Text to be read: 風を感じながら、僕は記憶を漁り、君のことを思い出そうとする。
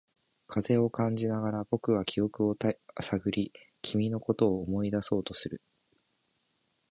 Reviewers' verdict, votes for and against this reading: accepted, 2, 1